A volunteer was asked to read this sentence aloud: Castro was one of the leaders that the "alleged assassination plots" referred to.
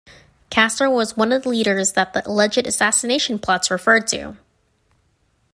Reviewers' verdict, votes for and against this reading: accepted, 2, 0